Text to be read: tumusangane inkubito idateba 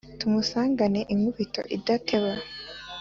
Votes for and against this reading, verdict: 2, 0, accepted